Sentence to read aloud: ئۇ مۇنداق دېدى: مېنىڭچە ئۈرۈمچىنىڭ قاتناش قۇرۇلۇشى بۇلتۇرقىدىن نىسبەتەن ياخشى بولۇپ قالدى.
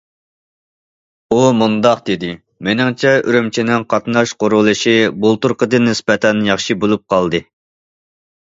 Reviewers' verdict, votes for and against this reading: accepted, 2, 0